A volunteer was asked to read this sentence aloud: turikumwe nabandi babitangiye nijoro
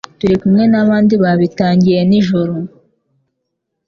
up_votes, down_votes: 2, 0